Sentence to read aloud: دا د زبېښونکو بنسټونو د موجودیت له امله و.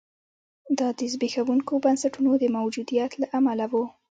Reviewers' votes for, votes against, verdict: 1, 2, rejected